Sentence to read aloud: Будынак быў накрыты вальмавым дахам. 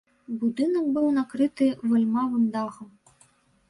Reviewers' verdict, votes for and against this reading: rejected, 1, 2